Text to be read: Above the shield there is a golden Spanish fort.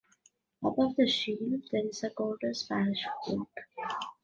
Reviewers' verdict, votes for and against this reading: rejected, 1, 2